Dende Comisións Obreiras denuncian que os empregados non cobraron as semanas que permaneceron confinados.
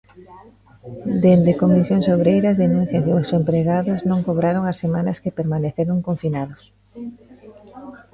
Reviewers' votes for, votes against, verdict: 0, 2, rejected